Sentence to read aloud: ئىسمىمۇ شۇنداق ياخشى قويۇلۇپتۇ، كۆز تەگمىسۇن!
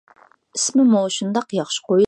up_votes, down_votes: 0, 2